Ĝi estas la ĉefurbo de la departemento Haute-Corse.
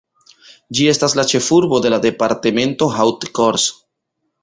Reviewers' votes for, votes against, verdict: 0, 2, rejected